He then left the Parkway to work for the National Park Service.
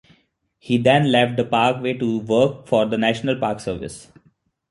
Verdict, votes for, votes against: accepted, 2, 0